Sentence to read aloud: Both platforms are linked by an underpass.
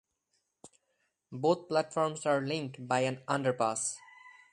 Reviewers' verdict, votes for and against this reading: rejected, 0, 2